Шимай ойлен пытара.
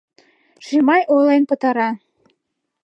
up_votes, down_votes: 2, 0